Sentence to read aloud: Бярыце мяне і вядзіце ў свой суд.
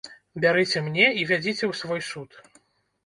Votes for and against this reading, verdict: 0, 2, rejected